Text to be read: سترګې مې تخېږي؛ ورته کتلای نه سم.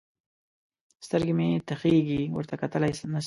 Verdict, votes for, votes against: rejected, 1, 2